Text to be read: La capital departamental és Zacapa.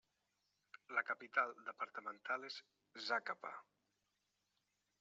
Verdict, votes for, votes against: rejected, 1, 2